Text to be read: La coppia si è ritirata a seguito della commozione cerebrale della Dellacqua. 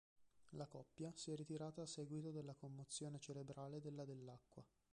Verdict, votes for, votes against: rejected, 0, 2